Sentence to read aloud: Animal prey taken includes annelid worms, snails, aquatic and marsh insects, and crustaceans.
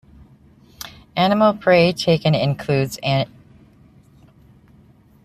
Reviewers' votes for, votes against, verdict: 0, 2, rejected